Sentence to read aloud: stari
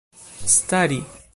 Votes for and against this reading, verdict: 2, 1, accepted